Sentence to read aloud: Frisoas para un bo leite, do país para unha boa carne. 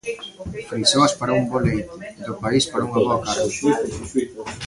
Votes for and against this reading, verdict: 2, 0, accepted